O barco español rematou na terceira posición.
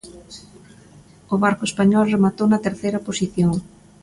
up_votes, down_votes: 2, 0